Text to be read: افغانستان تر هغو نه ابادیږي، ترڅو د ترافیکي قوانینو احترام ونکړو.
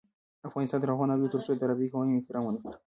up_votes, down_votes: 1, 2